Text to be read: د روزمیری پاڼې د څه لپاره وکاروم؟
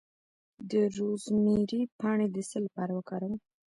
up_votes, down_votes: 1, 2